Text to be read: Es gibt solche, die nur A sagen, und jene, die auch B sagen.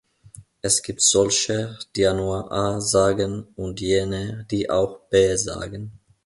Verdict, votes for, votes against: accepted, 2, 0